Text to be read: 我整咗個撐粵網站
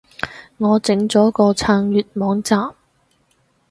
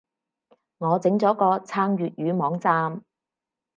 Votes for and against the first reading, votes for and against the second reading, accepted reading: 6, 0, 0, 4, first